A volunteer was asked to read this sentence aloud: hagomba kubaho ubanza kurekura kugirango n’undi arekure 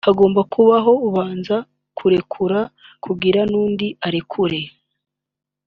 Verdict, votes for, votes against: rejected, 1, 2